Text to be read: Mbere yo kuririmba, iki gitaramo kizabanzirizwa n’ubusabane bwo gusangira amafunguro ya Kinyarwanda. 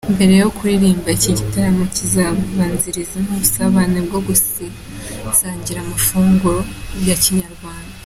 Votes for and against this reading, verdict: 2, 1, accepted